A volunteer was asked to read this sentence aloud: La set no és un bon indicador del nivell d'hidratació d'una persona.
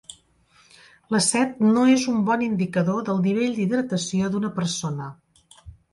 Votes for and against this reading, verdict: 2, 0, accepted